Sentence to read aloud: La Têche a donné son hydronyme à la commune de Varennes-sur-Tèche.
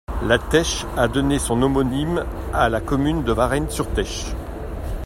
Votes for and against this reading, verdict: 1, 2, rejected